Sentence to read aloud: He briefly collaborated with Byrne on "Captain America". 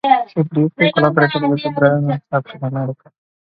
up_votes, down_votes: 0, 3